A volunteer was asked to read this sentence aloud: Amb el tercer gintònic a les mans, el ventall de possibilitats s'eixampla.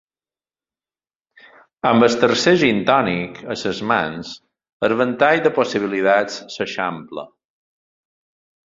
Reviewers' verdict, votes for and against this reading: accepted, 2, 0